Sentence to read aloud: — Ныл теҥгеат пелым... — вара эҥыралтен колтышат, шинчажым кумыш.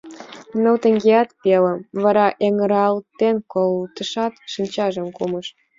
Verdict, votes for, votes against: accepted, 2, 0